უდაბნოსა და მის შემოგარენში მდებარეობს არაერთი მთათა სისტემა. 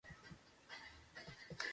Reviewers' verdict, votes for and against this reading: rejected, 0, 2